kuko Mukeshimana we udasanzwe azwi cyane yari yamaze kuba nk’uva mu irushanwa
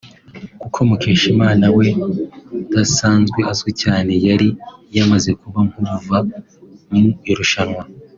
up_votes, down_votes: 3, 0